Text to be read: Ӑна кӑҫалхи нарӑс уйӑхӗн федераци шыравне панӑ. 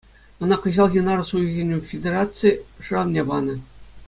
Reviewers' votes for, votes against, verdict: 2, 0, accepted